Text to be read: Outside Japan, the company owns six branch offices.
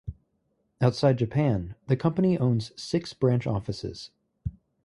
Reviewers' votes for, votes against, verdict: 4, 0, accepted